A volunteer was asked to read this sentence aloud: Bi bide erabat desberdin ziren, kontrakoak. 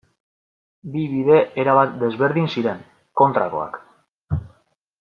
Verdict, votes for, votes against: accepted, 2, 0